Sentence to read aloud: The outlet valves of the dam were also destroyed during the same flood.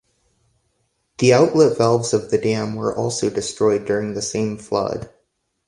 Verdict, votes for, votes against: accepted, 2, 0